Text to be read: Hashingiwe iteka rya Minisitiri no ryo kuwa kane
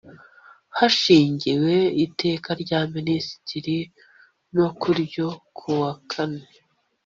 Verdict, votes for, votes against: rejected, 1, 2